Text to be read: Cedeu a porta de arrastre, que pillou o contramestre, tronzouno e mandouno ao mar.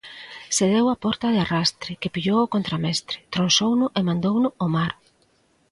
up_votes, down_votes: 2, 0